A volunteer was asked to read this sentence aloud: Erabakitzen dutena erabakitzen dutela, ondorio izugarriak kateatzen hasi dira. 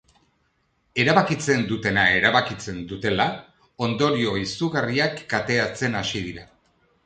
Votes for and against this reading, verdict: 2, 0, accepted